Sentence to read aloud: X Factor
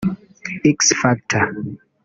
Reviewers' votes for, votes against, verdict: 1, 2, rejected